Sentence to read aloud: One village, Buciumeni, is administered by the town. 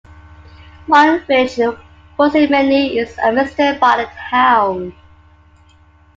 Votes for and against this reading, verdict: 1, 2, rejected